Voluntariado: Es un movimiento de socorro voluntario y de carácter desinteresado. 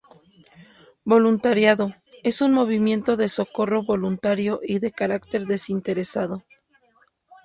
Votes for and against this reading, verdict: 2, 0, accepted